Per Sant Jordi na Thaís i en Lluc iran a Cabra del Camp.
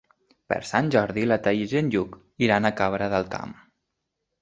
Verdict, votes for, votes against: rejected, 1, 2